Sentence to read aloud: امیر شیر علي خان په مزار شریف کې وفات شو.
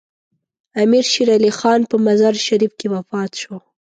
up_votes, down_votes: 2, 0